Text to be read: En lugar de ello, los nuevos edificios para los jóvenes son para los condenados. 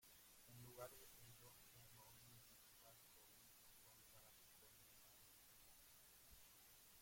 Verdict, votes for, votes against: rejected, 0, 2